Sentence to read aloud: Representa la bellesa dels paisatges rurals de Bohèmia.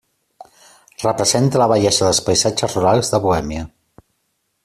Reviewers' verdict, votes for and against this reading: accepted, 2, 0